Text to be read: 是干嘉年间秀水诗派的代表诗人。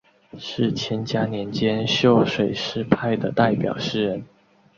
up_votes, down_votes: 4, 2